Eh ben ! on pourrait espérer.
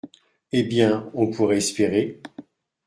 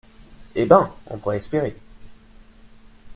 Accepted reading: second